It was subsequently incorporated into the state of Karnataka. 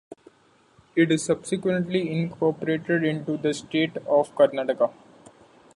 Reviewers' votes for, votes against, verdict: 0, 2, rejected